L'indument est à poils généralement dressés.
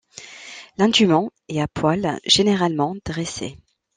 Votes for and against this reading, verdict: 2, 0, accepted